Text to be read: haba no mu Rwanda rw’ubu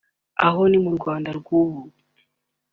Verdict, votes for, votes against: rejected, 0, 2